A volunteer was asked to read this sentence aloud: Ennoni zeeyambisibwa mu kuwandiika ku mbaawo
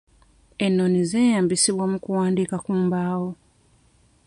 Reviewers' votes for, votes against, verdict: 2, 1, accepted